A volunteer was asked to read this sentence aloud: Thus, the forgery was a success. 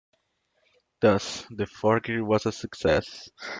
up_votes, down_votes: 2, 1